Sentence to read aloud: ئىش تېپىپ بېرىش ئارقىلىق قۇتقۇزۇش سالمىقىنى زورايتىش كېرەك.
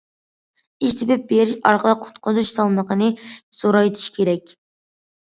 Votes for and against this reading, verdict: 2, 0, accepted